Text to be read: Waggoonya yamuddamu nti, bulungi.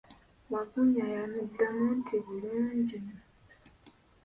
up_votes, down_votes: 1, 2